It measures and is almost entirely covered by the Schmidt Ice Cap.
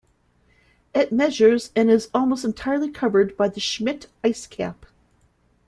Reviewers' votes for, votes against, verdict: 1, 2, rejected